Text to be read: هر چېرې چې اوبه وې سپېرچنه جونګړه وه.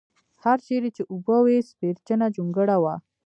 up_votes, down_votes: 2, 0